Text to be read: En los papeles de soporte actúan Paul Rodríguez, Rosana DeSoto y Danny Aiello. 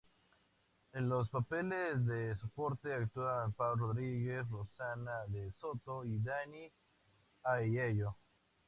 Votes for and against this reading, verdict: 4, 0, accepted